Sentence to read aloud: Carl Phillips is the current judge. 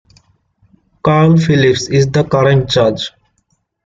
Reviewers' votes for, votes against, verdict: 2, 0, accepted